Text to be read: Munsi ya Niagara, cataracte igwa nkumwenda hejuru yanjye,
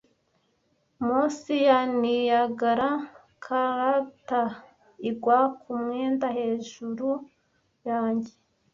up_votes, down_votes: 1, 2